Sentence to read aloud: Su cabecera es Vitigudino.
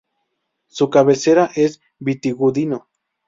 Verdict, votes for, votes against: accepted, 4, 0